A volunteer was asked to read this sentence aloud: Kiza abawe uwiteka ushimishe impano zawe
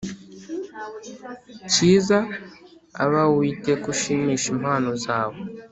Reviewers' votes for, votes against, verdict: 4, 0, accepted